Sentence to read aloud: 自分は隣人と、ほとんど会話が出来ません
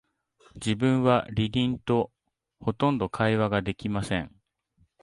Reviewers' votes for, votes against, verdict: 1, 2, rejected